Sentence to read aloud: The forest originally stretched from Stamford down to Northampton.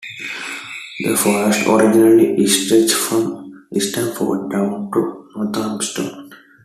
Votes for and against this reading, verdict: 1, 2, rejected